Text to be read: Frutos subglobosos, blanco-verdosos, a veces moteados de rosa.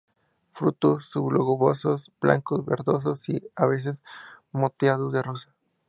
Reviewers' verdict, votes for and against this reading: rejected, 0, 2